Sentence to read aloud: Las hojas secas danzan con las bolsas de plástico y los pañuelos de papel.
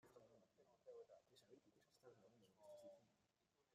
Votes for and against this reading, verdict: 0, 2, rejected